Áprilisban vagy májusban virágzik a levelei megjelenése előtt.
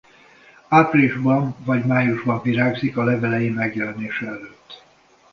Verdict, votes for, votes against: accepted, 2, 0